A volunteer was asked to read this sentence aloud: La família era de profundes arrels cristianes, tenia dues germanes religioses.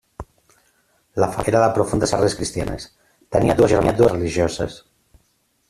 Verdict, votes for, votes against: rejected, 0, 2